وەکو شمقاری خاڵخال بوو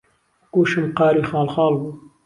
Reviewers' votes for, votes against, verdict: 0, 2, rejected